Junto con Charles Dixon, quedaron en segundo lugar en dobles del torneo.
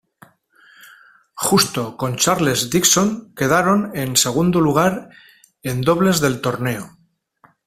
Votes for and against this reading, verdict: 0, 2, rejected